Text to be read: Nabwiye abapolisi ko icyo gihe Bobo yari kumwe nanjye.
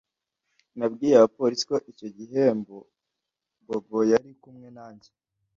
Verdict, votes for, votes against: rejected, 0, 2